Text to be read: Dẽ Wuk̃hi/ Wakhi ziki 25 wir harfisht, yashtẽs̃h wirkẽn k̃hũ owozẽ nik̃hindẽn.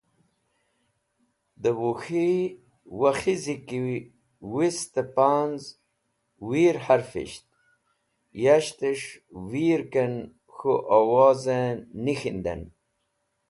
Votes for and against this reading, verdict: 0, 2, rejected